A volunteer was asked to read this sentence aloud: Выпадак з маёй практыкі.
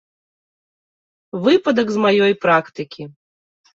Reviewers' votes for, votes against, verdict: 2, 0, accepted